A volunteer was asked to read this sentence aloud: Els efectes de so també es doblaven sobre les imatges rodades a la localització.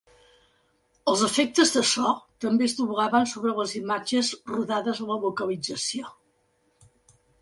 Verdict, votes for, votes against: accepted, 3, 0